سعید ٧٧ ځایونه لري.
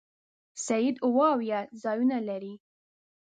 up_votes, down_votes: 0, 2